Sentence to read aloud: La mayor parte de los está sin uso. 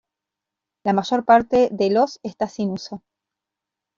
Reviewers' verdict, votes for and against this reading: rejected, 0, 2